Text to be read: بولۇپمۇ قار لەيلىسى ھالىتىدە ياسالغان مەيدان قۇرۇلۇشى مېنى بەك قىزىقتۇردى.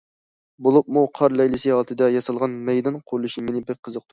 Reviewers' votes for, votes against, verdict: 0, 2, rejected